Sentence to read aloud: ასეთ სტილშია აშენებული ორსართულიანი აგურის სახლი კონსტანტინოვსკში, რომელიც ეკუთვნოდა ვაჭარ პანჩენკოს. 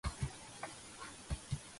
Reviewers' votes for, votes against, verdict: 0, 2, rejected